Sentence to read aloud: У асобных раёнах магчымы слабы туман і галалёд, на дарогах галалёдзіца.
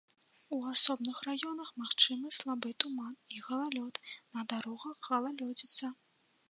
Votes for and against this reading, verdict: 2, 0, accepted